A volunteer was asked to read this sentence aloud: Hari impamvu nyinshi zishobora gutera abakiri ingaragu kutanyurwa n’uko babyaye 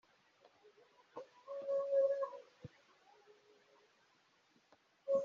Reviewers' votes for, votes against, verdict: 0, 2, rejected